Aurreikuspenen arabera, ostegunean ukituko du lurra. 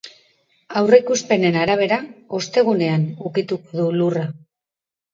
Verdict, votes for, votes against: rejected, 1, 2